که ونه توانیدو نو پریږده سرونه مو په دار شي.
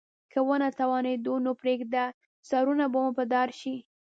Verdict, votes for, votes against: rejected, 1, 2